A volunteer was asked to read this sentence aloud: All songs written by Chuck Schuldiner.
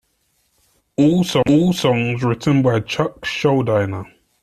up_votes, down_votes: 1, 2